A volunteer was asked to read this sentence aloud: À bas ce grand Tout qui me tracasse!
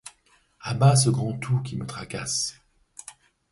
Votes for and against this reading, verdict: 2, 0, accepted